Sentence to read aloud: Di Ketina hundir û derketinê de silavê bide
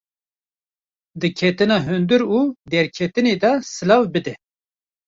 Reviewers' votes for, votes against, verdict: 1, 2, rejected